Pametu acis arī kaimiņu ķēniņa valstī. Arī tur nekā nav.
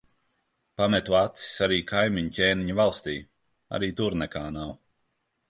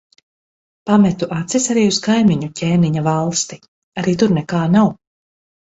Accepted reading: first